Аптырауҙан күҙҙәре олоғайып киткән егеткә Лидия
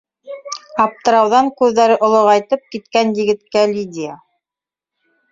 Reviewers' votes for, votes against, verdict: 0, 2, rejected